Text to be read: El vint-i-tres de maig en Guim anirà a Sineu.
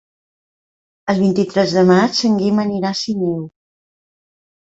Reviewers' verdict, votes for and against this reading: rejected, 1, 2